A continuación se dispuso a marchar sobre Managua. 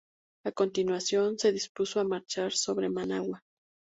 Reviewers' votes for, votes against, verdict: 2, 0, accepted